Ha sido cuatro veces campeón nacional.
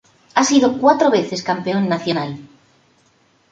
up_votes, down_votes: 2, 0